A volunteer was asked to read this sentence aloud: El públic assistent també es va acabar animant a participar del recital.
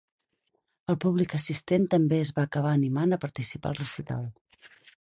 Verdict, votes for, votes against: rejected, 2, 4